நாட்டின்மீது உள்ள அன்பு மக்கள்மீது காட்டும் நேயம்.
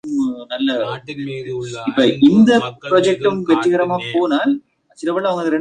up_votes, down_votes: 1, 3